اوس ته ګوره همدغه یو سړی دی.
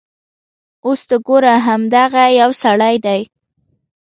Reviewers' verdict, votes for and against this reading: accepted, 2, 0